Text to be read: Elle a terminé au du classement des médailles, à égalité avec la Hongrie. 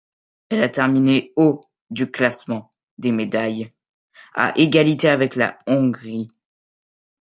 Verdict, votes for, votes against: accepted, 2, 0